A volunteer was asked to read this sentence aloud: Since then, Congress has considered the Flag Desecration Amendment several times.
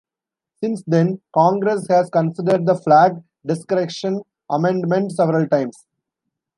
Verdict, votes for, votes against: rejected, 0, 2